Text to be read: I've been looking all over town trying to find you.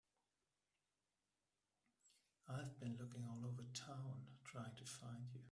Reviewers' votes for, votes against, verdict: 1, 2, rejected